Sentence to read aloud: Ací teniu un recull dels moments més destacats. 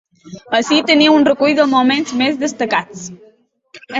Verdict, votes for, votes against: rejected, 1, 2